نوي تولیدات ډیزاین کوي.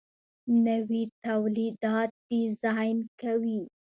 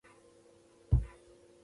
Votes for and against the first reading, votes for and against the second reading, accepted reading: 2, 0, 1, 2, first